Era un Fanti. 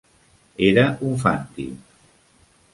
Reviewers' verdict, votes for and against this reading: accepted, 2, 0